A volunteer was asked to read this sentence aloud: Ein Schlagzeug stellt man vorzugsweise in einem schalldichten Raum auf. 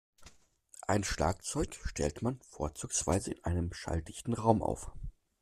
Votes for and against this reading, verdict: 2, 0, accepted